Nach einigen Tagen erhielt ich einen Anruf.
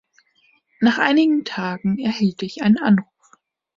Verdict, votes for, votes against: accepted, 2, 0